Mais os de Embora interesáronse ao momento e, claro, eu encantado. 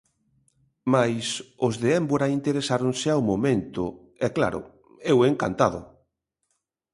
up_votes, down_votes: 1, 2